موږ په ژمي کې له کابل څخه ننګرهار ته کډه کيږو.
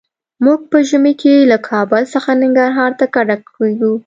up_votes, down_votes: 2, 0